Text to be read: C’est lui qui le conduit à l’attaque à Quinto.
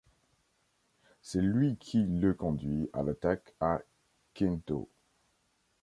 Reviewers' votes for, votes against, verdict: 1, 2, rejected